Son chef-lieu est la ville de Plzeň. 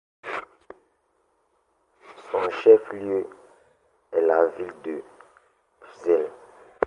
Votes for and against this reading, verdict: 2, 0, accepted